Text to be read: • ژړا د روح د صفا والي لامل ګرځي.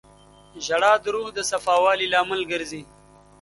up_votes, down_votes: 2, 1